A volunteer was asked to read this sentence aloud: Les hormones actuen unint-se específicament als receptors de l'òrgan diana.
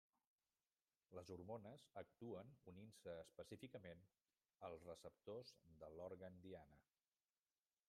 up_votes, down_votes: 0, 2